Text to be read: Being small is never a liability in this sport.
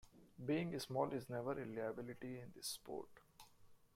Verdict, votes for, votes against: accepted, 2, 1